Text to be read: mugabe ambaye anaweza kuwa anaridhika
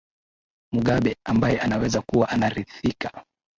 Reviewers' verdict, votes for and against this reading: accepted, 2, 1